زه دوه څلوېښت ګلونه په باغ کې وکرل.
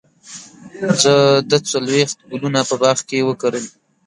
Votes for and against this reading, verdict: 1, 2, rejected